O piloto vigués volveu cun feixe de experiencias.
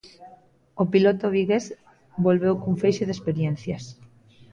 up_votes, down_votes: 2, 0